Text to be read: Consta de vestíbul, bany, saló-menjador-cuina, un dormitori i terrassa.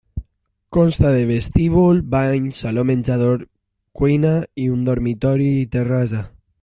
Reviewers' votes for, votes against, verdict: 0, 2, rejected